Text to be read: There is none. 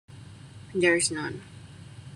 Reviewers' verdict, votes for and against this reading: accepted, 2, 0